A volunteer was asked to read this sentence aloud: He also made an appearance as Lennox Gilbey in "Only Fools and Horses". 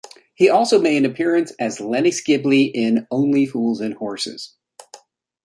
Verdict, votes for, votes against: accepted, 2, 0